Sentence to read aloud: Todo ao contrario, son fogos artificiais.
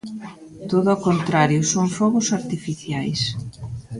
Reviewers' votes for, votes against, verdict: 1, 2, rejected